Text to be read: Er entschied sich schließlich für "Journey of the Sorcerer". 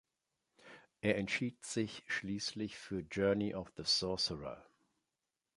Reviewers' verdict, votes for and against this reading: accepted, 2, 0